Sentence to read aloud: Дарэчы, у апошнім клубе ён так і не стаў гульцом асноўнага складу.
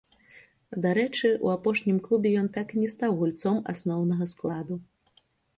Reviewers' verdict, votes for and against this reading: accepted, 2, 0